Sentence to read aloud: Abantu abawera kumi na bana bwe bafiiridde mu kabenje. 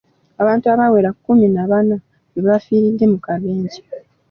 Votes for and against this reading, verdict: 2, 0, accepted